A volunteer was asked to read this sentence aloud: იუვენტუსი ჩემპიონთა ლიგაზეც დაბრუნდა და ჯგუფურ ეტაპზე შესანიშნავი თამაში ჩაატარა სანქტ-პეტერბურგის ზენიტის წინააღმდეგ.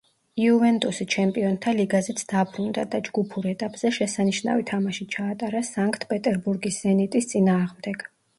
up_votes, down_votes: 1, 2